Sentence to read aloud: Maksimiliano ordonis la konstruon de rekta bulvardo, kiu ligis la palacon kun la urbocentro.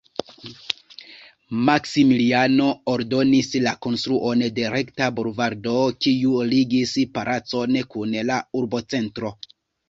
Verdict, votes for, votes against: rejected, 1, 2